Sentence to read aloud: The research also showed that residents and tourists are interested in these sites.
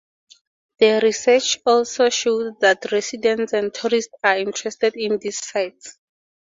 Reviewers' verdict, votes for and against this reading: accepted, 6, 0